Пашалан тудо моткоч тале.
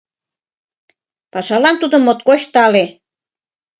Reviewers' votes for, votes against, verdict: 2, 0, accepted